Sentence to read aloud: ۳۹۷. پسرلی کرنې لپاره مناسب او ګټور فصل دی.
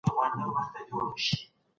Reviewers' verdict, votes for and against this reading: rejected, 0, 2